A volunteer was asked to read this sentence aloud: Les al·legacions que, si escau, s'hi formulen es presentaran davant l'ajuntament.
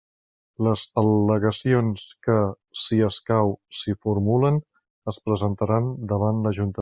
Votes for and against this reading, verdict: 1, 2, rejected